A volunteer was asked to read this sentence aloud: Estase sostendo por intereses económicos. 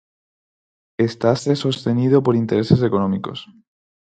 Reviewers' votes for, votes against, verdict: 0, 4, rejected